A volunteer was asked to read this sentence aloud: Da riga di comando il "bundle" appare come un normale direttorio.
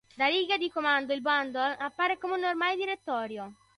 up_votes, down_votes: 2, 0